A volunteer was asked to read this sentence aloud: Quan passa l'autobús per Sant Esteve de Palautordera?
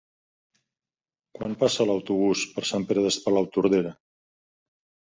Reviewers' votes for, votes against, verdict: 0, 3, rejected